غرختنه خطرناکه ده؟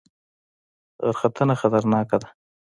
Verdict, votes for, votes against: accepted, 2, 1